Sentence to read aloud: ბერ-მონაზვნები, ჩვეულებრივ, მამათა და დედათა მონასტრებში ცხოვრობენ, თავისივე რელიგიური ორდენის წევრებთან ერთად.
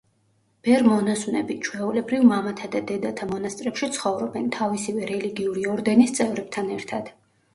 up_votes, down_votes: 2, 0